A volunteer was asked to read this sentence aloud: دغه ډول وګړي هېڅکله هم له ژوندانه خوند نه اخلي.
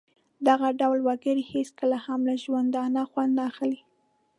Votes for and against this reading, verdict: 2, 0, accepted